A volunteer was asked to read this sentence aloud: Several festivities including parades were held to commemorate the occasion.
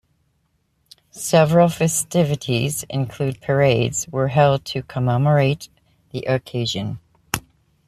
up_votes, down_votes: 1, 2